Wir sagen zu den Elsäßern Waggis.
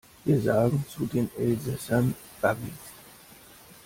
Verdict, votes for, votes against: rejected, 0, 2